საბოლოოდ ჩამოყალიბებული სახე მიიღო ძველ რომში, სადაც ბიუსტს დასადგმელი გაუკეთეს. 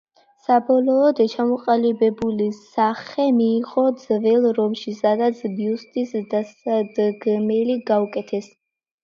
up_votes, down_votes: 2, 1